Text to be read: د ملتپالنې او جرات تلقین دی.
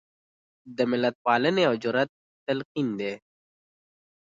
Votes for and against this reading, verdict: 2, 0, accepted